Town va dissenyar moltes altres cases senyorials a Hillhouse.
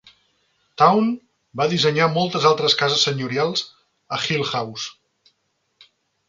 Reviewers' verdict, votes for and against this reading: accepted, 2, 0